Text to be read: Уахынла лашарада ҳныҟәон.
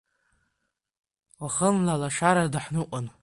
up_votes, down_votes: 2, 1